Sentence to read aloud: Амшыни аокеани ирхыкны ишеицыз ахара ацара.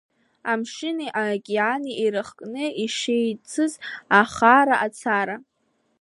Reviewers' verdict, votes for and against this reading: rejected, 1, 2